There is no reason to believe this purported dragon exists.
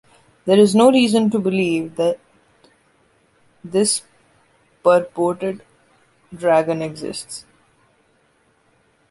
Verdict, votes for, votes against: rejected, 1, 2